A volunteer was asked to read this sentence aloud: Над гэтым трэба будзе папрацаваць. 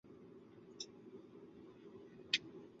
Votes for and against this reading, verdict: 0, 2, rejected